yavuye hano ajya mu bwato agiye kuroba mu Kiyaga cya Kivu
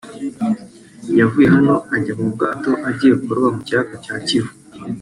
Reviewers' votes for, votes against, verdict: 1, 2, rejected